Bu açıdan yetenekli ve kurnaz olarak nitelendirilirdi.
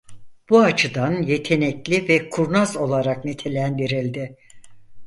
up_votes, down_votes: 0, 4